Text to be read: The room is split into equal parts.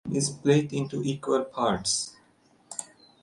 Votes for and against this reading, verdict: 0, 2, rejected